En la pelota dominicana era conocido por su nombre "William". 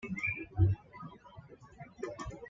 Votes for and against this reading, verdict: 1, 2, rejected